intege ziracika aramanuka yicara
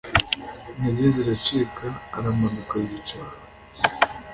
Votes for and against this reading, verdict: 2, 0, accepted